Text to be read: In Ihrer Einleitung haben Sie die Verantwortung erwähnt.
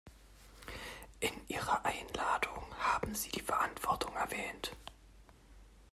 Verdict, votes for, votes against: rejected, 1, 2